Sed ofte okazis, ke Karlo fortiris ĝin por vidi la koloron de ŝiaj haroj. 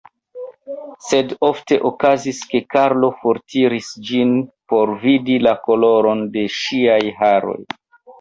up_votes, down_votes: 2, 0